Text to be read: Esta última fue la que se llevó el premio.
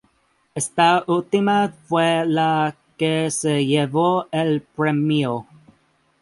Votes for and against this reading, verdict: 2, 0, accepted